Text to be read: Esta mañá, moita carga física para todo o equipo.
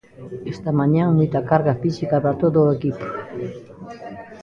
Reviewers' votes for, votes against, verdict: 2, 1, accepted